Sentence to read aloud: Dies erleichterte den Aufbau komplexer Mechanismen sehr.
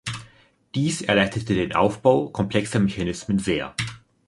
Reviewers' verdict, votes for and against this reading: rejected, 1, 2